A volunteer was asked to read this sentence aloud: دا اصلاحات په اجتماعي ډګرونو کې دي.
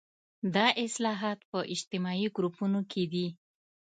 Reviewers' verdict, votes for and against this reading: accepted, 2, 0